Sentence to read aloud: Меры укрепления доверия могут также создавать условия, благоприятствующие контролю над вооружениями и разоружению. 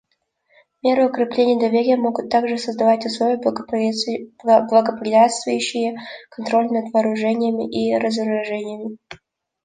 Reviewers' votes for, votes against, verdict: 1, 2, rejected